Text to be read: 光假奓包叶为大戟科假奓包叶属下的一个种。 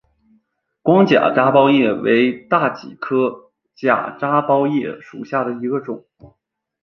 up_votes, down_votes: 1, 2